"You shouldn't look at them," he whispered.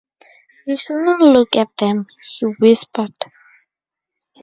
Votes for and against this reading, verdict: 2, 2, rejected